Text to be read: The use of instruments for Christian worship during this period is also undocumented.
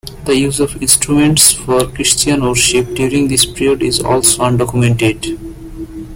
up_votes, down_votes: 2, 0